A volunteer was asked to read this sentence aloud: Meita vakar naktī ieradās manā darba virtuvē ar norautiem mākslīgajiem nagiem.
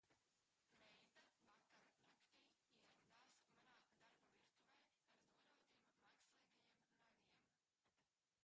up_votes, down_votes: 0, 2